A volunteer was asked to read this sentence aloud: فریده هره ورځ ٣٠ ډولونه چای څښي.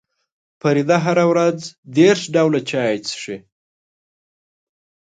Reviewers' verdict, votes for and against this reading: rejected, 0, 2